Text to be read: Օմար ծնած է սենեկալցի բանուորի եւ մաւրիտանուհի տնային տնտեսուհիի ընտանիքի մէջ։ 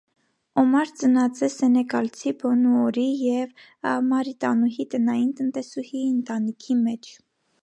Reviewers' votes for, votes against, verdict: 0, 2, rejected